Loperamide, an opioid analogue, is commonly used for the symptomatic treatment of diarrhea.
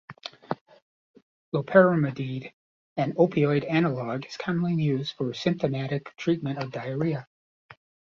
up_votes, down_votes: 1, 2